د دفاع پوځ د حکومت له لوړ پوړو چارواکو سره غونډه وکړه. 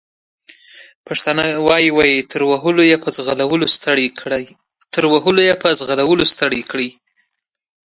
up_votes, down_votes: 0, 2